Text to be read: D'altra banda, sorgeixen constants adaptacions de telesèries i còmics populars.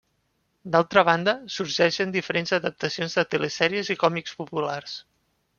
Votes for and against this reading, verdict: 0, 2, rejected